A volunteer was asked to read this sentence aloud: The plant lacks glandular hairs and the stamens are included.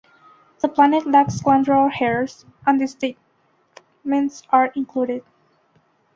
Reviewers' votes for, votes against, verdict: 1, 2, rejected